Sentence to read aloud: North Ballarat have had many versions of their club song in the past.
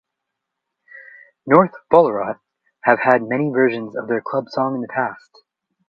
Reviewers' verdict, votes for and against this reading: accepted, 2, 0